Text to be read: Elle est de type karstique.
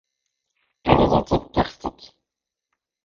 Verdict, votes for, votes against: rejected, 0, 2